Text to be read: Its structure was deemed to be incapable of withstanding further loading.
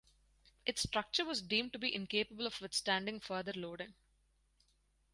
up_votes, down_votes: 4, 0